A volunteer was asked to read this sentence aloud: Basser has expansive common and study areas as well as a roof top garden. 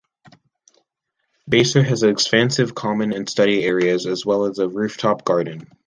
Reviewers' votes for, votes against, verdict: 2, 0, accepted